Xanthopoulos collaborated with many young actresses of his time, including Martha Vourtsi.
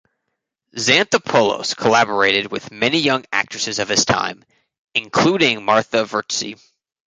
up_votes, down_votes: 2, 0